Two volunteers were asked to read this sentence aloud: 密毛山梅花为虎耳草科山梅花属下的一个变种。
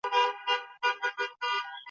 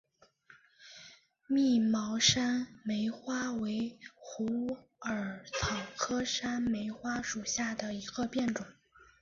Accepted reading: second